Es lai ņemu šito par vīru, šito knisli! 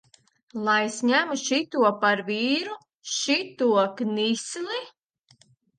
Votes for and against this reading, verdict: 0, 2, rejected